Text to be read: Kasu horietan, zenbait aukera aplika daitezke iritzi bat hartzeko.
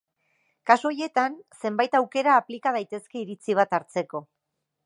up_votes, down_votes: 1, 2